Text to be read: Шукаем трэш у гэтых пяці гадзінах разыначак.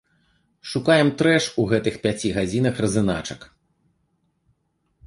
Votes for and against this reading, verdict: 1, 2, rejected